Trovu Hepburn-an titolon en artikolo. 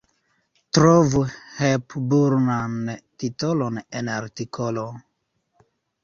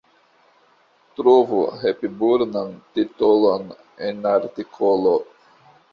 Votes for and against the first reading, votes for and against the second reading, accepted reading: 2, 1, 1, 2, first